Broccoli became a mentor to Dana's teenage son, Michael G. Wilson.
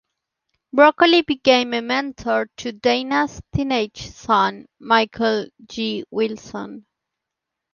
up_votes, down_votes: 2, 0